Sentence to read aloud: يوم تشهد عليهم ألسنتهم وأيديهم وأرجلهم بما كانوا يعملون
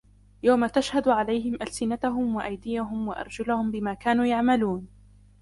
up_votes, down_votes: 0, 2